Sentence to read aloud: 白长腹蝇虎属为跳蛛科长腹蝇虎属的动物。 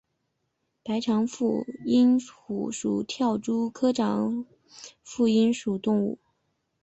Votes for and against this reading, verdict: 2, 0, accepted